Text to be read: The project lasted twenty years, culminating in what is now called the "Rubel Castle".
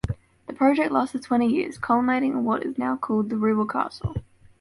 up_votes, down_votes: 2, 0